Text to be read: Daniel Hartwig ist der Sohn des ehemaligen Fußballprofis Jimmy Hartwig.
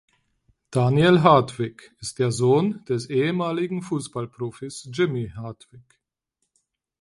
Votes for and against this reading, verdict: 4, 0, accepted